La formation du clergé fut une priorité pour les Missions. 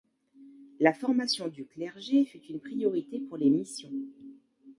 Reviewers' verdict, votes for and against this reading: rejected, 1, 2